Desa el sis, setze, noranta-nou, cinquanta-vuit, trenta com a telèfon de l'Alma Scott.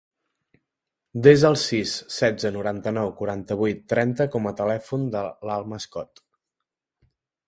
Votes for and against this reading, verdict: 0, 2, rejected